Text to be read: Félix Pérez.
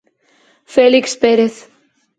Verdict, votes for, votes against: accepted, 4, 0